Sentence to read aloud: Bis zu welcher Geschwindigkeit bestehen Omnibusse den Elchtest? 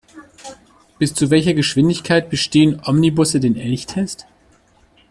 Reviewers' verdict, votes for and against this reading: accepted, 2, 0